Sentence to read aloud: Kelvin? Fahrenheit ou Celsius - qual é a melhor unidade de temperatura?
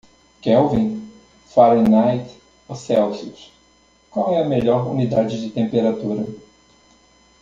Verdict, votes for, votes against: accepted, 2, 0